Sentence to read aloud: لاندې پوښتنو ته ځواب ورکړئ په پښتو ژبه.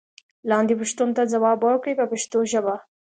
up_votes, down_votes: 1, 3